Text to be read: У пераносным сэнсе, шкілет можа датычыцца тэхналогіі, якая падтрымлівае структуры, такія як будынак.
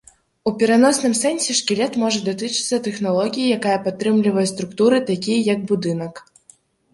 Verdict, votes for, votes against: accepted, 2, 0